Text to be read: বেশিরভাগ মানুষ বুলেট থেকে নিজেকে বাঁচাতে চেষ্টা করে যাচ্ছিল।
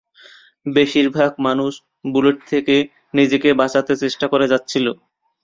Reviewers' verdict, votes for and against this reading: rejected, 0, 2